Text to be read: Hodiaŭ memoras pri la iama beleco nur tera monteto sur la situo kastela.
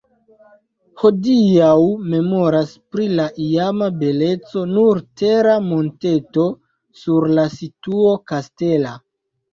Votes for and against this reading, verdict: 0, 2, rejected